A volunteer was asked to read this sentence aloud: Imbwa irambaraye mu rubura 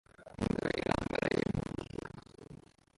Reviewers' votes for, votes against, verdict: 0, 2, rejected